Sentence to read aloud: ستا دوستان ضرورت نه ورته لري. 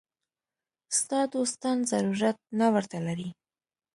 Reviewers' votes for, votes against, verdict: 2, 0, accepted